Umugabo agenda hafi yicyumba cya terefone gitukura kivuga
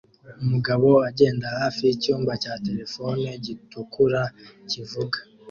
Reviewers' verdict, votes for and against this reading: accepted, 2, 0